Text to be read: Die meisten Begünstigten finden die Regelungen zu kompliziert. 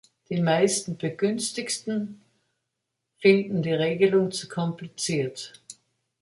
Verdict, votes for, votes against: rejected, 0, 2